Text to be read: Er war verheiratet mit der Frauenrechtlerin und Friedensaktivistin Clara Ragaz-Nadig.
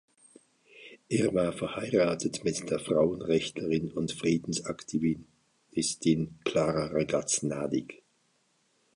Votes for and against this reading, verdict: 1, 2, rejected